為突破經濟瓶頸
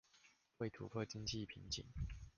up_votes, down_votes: 1, 2